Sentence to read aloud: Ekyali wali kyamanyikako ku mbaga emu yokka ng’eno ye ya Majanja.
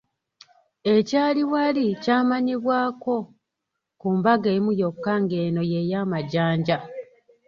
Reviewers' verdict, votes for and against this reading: rejected, 0, 2